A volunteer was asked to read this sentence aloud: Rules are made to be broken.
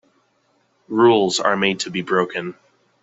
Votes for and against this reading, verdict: 2, 0, accepted